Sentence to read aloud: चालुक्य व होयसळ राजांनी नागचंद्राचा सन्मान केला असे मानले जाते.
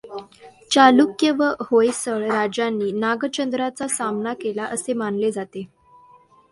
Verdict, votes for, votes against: rejected, 1, 2